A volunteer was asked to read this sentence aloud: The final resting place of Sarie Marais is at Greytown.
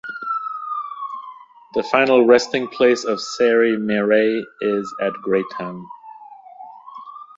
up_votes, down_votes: 2, 0